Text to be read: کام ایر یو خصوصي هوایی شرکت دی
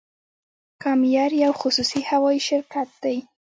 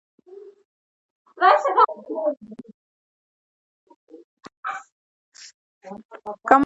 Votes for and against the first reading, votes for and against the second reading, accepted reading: 2, 0, 0, 2, first